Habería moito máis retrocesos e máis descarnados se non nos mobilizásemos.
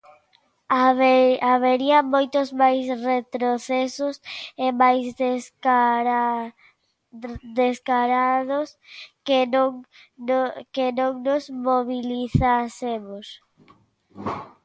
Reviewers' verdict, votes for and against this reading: rejected, 0, 2